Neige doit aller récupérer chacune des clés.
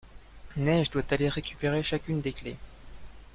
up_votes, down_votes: 2, 0